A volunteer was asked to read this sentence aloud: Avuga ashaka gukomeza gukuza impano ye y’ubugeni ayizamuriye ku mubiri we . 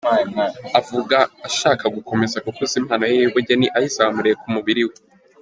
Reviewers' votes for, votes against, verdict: 1, 2, rejected